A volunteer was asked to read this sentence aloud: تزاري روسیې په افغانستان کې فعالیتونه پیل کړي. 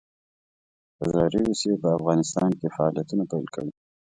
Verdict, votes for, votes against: rejected, 1, 2